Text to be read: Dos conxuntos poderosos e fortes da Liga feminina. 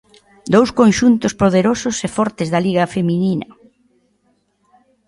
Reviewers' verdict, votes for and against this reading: rejected, 1, 2